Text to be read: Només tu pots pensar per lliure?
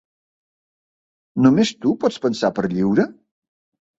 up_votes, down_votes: 2, 0